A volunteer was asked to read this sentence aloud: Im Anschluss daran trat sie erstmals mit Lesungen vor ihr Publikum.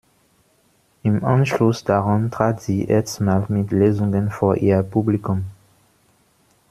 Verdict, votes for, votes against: rejected, 1, 2